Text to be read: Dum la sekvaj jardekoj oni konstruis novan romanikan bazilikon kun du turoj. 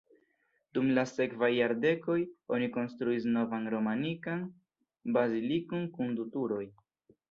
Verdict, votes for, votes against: accepted, 2, 0